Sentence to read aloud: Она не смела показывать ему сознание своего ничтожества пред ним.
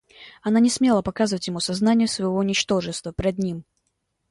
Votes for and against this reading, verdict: 2, 0, accepted